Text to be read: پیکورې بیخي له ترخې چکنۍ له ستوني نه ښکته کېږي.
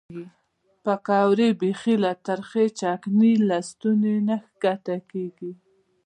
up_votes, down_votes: 2, 1